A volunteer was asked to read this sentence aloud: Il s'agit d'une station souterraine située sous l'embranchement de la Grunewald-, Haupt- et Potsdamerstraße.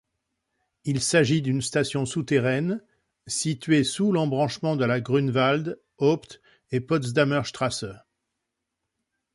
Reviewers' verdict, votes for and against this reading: accepted, 2, 0